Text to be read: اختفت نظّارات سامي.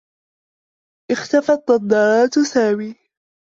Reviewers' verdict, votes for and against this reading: rejected, 1, 2